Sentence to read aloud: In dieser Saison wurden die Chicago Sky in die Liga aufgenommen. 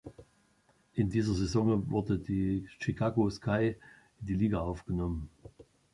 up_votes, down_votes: 0, 2